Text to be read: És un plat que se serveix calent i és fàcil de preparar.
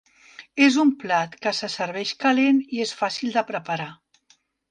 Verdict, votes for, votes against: accepted, 3, 0